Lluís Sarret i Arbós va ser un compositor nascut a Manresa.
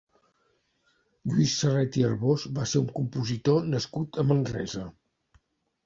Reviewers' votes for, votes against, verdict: 1, 2, rejected